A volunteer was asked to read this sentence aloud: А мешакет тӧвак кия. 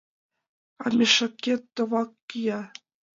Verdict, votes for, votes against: rejected, 0, 2